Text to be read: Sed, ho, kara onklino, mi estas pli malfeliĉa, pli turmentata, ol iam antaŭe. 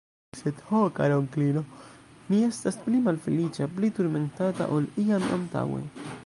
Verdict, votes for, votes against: rejected, 0, 2